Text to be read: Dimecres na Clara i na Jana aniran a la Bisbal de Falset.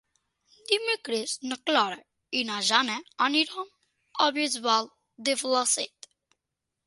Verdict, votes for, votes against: rejected, 0, 4